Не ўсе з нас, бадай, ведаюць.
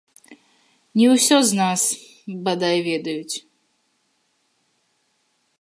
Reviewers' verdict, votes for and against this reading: rejected, 2, 3